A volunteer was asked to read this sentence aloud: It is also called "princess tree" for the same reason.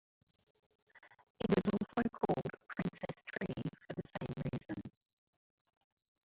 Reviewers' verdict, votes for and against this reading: rejected, 0, 2